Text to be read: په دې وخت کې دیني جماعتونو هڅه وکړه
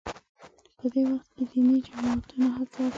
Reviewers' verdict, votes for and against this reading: rejected, 0, 2